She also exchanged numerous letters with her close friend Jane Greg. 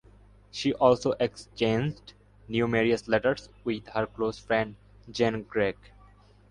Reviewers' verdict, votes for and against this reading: rejected, 0, 2